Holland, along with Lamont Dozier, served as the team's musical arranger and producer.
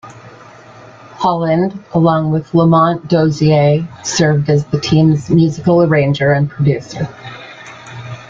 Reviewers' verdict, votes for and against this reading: accepted, 2, 0